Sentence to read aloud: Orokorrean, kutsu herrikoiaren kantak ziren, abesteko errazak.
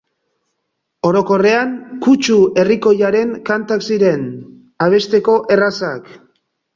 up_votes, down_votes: 3, 0